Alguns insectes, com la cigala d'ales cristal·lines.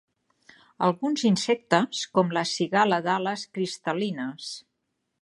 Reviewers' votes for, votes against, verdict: 3, 0, accepted